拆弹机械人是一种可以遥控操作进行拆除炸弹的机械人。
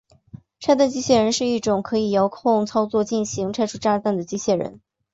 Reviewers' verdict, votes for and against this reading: accepted, 3, 0